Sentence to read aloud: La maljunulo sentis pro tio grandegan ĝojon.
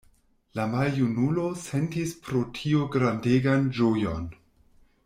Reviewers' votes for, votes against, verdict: 2, 0, accepted